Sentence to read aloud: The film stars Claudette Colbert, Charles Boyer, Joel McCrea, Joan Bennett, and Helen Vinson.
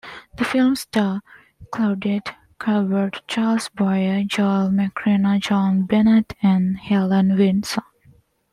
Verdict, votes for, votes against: accepted, 2, 0